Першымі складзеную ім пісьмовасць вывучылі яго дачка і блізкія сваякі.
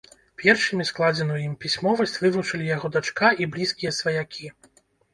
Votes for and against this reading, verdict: 2, 0, accepted